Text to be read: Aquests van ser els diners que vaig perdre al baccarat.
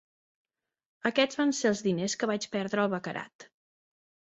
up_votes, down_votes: 3, 0